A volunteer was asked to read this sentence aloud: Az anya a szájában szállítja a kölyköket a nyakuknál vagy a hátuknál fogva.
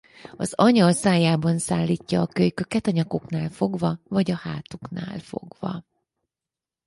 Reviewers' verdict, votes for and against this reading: rejected, 2, 4